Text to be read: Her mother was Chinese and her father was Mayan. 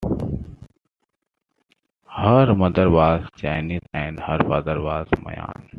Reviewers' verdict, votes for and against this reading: accepted, 2, 0